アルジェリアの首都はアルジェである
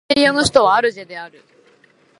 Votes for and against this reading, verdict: 1, 2, rejected